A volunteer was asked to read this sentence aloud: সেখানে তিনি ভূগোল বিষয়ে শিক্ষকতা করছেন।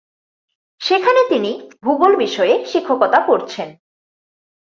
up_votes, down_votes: 4, 0